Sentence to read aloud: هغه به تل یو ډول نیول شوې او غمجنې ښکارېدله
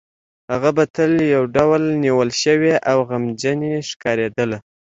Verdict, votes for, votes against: accepted, 2, 0